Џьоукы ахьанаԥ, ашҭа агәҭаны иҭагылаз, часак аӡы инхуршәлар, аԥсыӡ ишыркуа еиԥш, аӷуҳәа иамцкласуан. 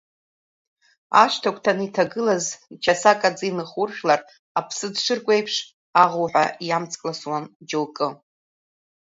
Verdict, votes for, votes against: rejected, 1, 2